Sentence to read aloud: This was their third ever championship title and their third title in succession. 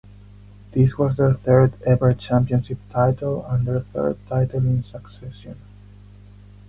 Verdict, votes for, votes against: accepted, 4, 0